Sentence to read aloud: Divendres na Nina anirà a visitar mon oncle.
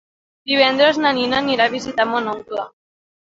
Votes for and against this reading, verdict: 2, 0, accepted